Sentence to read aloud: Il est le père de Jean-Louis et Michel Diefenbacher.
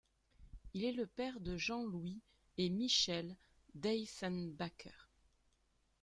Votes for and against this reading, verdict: 0, 2, rejected